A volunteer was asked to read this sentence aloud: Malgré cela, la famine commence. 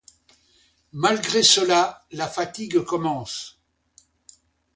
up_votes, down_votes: 1, 2